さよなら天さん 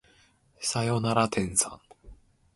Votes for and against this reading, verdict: 1, 2, rejected